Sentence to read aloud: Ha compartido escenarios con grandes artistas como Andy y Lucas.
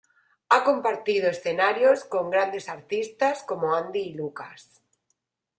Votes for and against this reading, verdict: 2, 0, accepted